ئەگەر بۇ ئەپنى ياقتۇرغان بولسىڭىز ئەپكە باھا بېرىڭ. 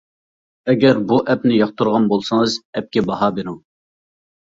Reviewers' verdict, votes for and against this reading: accepted, 2, 0